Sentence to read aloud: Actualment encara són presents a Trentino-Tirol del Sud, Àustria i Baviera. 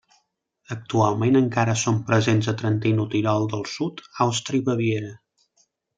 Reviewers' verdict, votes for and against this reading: accepted, 2, 0